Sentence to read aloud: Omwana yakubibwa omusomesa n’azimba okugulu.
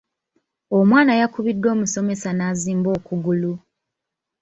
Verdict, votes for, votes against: rejected, 1, 3